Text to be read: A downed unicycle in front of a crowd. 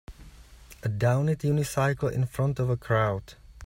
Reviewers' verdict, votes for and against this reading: rejected, 0, 2